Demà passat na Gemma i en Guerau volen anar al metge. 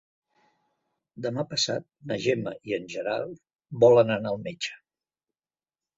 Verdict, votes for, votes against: rejected, 0, 2